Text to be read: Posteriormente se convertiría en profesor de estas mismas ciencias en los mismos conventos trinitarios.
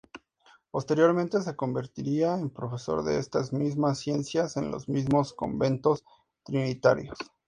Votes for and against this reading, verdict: 2, 0, accepted